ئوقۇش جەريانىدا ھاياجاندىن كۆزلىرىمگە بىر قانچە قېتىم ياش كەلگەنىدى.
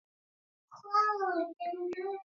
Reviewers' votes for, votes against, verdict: 0, 2, rejected